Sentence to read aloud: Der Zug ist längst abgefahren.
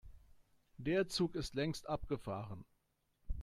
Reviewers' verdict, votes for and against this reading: accepted, 3, 0